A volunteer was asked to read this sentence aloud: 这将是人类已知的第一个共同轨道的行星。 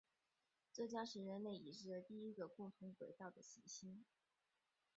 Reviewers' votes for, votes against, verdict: 3, 4, rejected